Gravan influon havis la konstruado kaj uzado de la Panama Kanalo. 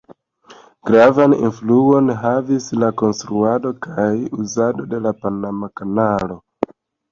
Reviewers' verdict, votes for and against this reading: accepted, 2, 0